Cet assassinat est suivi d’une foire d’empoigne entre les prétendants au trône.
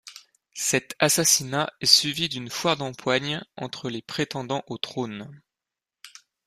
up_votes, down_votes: 2, 0